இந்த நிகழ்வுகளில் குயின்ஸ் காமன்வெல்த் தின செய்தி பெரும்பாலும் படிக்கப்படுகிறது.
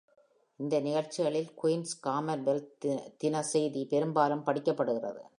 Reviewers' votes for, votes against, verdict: 0, 2, rejected